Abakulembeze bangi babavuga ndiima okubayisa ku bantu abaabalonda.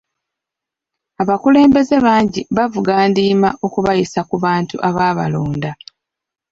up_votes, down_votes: 1, 2